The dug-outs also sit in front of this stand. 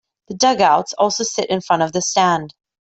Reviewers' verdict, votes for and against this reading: rejected, 0, 2